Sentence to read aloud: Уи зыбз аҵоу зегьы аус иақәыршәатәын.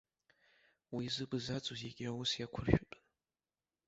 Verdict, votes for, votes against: rejected, 1, 2